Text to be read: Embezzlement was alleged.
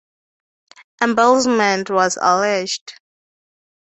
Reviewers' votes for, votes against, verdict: 2, 0, accepted